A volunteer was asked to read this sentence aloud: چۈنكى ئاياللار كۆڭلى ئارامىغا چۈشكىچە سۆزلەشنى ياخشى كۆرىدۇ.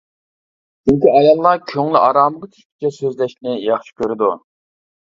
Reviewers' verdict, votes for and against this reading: rejected, 0, 2